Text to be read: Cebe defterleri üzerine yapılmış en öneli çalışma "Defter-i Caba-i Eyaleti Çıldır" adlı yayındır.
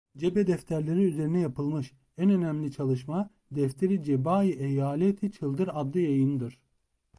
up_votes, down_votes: 0, 2